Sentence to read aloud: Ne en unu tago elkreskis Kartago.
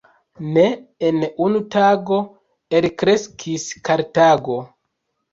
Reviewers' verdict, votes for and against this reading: rejected, 1, 2